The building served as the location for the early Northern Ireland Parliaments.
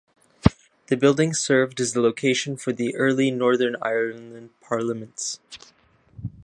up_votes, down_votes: 2, 0